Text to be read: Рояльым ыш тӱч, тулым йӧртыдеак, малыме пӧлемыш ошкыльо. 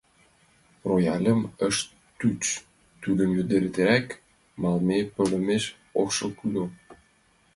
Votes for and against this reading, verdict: 0, 3, rejected